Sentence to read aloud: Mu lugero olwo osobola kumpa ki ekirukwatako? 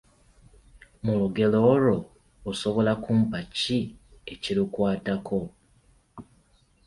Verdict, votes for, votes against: accepted, 2, 0